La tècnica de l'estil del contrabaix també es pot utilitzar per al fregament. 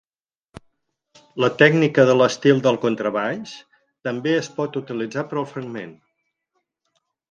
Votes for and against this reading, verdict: 2, 4, rejected